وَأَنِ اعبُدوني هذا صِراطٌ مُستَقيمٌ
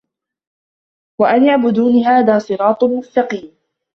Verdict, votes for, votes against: accepted, 2, 1